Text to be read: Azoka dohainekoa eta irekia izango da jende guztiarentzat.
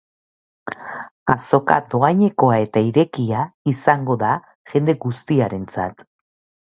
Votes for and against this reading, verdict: 3, 0, accepted